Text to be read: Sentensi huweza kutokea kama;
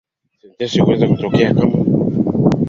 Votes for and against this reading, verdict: 11, 3, accepted